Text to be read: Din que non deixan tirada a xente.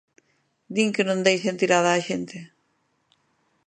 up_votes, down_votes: 2, 0